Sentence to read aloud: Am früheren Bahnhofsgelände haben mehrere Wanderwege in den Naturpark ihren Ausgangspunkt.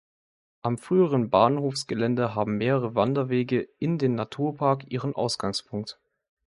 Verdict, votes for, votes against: accepted, 2, 0